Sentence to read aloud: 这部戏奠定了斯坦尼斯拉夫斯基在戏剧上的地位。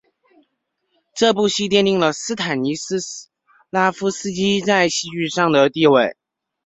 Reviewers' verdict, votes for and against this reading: rejected, 1, 2